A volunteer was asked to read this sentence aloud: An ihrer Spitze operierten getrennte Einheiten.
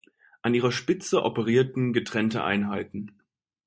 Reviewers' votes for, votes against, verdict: 2, 0, accepted